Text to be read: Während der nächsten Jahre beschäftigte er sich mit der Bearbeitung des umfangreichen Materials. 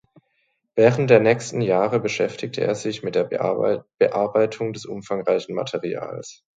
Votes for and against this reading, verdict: 0, 2, rejected